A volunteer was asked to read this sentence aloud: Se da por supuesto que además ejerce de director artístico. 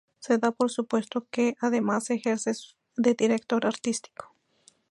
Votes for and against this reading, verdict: 0, 2, rejected